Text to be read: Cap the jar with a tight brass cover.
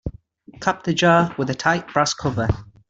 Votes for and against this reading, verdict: 2, 0, accepted